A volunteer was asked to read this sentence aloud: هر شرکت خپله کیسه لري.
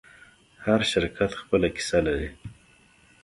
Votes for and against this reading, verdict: 2, 0, accepted